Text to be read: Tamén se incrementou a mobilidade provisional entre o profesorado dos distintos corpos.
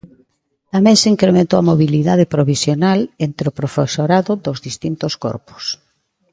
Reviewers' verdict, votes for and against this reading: accepted, 2, 1